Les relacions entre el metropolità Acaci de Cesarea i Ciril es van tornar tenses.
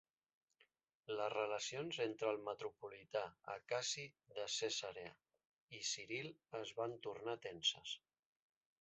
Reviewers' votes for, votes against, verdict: 1, 2, rejected